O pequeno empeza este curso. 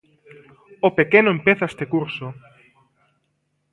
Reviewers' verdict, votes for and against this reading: accepted, 2, 0